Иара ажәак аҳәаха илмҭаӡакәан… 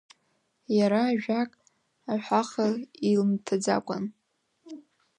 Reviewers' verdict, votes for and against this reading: accepted, 2, 0